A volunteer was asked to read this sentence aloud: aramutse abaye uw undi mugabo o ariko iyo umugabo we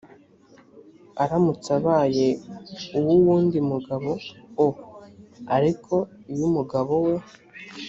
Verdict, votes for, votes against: rejected, 1, 2